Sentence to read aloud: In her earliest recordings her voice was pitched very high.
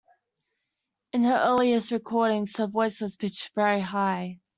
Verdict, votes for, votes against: accepted, 2, 0